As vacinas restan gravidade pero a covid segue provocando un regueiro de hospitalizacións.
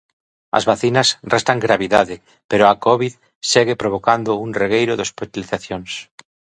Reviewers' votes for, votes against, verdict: 2, 1, accepted